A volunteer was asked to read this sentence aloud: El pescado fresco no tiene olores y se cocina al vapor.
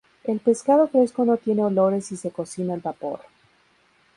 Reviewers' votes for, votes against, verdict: 2, 0, accepted